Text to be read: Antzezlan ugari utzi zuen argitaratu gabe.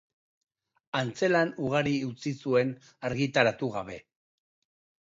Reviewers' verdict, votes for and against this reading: rejected, 0, 5